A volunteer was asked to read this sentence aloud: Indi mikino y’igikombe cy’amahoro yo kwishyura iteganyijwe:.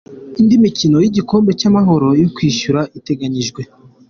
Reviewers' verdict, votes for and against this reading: accepted, 2, 0